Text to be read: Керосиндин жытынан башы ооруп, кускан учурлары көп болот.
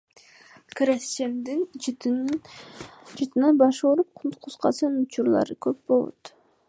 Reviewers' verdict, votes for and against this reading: rejected, 1, 2